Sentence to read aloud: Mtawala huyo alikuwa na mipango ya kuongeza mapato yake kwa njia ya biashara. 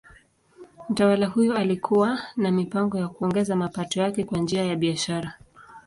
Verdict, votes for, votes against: accepted, 2, 0